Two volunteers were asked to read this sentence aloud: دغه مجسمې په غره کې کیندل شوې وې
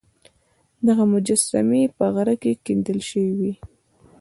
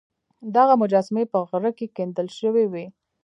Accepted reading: first